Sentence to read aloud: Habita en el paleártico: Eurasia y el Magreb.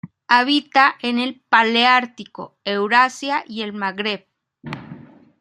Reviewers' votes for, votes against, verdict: 2, 0, accepted